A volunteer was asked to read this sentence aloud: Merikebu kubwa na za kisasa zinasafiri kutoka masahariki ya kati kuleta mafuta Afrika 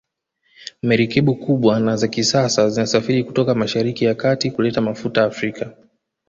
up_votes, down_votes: 2, 0